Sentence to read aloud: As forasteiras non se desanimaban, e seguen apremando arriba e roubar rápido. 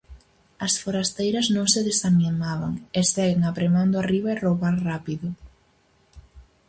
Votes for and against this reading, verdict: 2, 2, rejected